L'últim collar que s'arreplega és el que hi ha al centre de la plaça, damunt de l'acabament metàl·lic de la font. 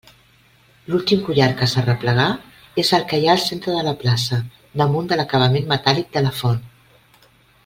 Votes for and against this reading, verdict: 0, 2, rejected